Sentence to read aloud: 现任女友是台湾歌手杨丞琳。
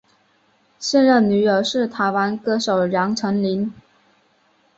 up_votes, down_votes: 2, 0